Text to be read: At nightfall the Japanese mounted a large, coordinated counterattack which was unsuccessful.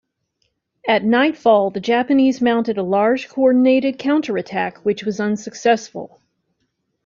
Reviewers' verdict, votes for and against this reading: accepted, 2, 0